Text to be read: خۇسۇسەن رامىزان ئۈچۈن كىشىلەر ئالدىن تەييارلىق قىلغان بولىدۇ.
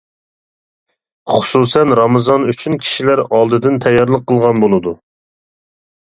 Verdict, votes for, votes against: rejected, 1, 2